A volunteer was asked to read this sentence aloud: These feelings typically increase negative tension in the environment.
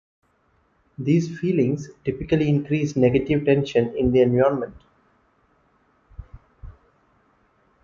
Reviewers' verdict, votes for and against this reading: rejected, 0, 2